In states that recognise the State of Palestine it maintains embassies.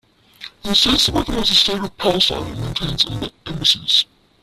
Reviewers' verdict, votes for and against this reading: rejected, 0, 2